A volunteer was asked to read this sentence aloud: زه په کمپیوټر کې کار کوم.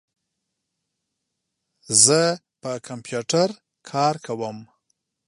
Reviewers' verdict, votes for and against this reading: rejected, 1, 2